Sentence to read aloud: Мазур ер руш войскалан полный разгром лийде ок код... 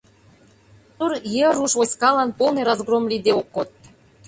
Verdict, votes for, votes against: rejected, 0, 2